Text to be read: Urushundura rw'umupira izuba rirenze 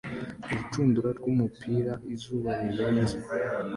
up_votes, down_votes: 2, 0